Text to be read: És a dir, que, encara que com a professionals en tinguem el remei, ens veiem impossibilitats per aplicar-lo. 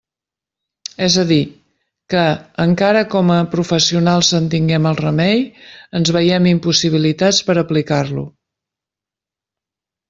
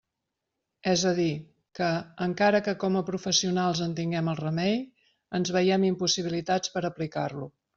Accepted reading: second